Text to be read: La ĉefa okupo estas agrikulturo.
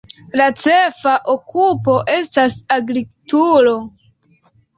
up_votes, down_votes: 2, 0